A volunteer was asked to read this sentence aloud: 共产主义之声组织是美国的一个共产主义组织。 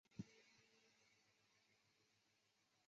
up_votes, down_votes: 1, 2